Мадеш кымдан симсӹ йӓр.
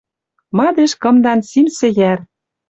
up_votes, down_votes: 2, 0